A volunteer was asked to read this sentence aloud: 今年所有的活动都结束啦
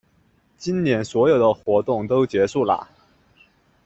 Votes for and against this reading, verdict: 2, 0, accepted